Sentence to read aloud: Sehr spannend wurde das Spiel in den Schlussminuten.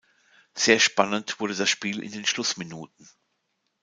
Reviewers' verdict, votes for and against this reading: accepted, 2, 0